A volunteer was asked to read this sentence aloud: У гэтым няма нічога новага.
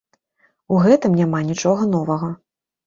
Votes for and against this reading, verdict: 2, 0, accepted